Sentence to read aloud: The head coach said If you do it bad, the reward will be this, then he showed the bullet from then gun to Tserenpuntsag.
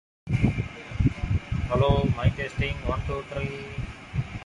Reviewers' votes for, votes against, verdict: 1, 2, rejected